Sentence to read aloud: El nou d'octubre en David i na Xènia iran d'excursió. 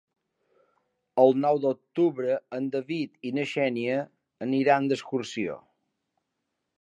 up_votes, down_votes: 1, 2